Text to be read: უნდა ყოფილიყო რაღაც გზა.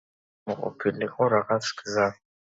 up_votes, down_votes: 2, 1